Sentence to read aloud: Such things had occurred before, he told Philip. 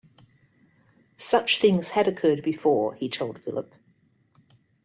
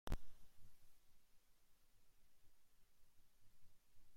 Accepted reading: first